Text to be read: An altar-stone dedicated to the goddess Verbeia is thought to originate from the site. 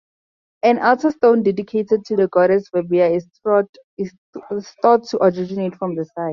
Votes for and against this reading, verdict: 0, 2, rejected